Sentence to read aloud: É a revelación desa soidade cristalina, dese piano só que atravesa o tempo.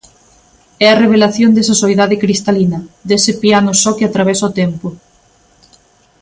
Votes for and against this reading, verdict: 2, 0, accepted